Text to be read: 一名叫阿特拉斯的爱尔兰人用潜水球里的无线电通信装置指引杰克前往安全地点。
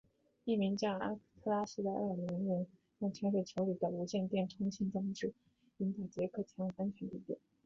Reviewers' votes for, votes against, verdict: 0, 2, rejected